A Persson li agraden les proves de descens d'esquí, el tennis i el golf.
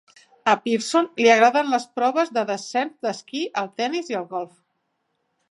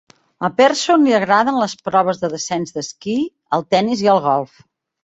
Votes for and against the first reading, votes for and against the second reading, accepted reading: 1, 2, 2, 0, second